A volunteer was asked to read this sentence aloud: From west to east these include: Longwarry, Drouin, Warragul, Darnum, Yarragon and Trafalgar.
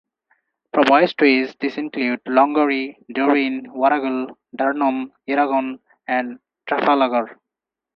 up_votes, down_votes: 0, 2